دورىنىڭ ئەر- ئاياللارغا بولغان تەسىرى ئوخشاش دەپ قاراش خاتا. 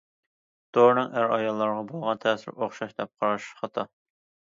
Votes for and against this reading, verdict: 2, 0, accepted